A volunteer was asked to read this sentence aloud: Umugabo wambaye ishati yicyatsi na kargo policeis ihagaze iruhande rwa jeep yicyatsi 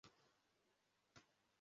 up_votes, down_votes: 0, 2